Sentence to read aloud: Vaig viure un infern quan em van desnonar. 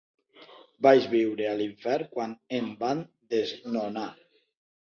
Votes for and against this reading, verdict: 0, 2, rejected